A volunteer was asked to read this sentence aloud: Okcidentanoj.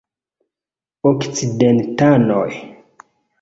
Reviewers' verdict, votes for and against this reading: accepted, 2, 0